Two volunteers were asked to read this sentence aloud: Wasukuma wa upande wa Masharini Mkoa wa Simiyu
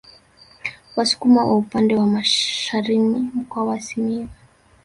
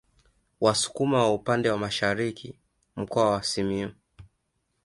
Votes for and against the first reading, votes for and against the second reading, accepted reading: 1, 2, 2, 0, second